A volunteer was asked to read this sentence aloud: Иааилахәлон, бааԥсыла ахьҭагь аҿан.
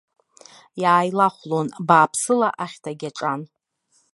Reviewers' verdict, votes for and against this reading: accepted, 2, 0